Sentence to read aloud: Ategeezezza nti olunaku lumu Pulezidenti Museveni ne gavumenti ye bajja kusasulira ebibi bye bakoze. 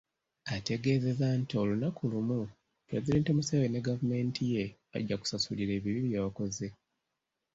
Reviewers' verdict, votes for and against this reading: accepted, 2, 0